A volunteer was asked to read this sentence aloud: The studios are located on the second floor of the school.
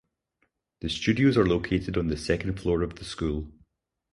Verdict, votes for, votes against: accepted, 4, 0